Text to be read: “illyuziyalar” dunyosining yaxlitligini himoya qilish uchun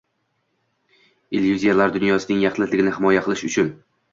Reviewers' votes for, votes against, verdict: 2, 0, accepted